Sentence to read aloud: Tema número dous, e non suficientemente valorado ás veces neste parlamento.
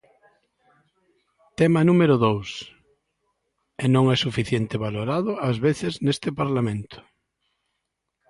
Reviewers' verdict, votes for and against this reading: rejected, 0, 2